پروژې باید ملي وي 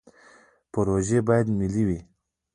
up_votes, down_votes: 0, 2